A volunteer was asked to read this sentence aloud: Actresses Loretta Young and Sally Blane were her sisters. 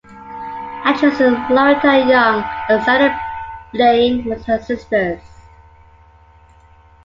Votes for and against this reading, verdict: 0, 2, rejected